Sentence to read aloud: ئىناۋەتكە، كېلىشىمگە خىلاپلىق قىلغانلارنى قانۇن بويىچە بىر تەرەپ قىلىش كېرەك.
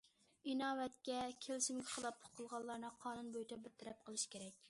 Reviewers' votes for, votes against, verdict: 2, 0, accepted